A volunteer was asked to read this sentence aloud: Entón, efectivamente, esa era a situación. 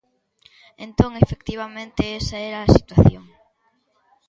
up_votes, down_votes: 2, 0